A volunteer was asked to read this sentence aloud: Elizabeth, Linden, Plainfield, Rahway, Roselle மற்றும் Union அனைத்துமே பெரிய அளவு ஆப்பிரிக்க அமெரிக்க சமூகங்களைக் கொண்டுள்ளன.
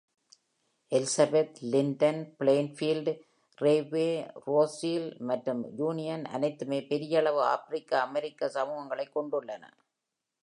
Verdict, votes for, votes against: accepted, 2, 0